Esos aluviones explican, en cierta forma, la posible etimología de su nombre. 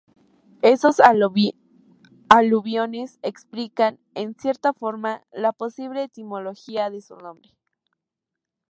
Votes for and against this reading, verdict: 2, 0, accepted